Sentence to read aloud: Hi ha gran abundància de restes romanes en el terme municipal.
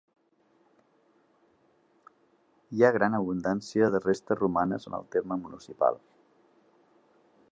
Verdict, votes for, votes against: accepted, 2, 0